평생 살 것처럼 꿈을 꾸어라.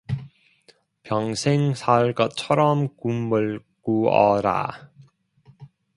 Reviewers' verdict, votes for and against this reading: accepted, 2, 0